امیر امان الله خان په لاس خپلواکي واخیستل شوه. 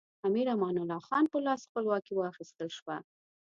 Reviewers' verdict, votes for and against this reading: accepted, 2, 0